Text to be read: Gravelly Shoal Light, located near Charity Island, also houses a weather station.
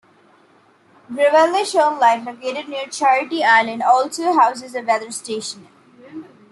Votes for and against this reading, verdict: 0, 2, rejected